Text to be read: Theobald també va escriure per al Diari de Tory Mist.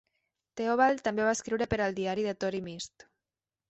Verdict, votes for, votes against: rejected, 1, 2